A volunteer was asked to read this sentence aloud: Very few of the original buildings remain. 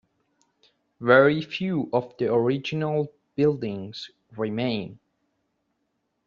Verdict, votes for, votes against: accepted, 3, 0